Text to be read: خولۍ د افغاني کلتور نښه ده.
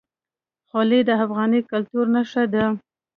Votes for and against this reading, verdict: 2, 0, accepted